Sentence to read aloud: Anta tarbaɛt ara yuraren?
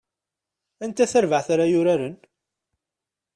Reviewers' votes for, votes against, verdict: 2, 0, accepted